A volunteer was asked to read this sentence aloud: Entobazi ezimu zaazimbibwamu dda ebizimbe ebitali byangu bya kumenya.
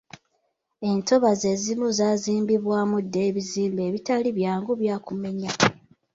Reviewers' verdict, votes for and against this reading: accepted, 2, 1